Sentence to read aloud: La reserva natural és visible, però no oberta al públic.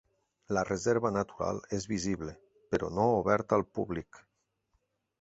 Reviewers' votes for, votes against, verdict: 3, 0, accepted